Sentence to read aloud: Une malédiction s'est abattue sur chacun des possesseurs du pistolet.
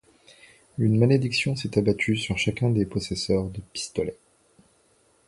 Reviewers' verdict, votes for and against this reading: rejected, 0, 2